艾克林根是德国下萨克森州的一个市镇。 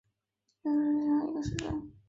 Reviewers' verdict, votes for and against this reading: rejected, 1, 2